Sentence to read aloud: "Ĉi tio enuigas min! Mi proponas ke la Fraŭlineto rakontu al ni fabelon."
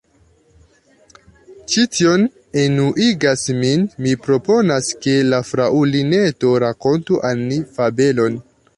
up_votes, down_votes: 1, 2